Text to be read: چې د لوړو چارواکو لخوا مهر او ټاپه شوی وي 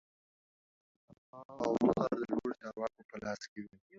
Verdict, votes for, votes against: rejected, 0, 2